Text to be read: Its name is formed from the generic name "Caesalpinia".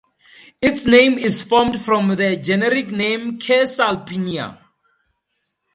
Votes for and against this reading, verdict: 4, 0, accepted